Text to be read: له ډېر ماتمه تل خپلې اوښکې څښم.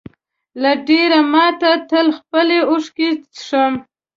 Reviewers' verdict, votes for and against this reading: rejected, 1, 2